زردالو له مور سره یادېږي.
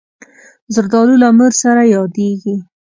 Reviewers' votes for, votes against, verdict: 2, 0, accepted